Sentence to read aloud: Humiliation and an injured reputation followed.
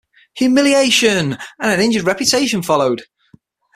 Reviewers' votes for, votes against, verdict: 3, 6, rejected